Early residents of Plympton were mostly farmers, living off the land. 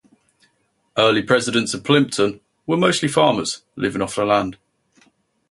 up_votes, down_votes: 0, 4